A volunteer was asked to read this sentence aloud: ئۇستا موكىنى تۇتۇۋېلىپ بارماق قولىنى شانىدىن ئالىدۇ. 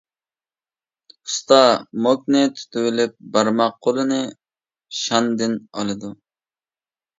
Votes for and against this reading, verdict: 0, 2, rejected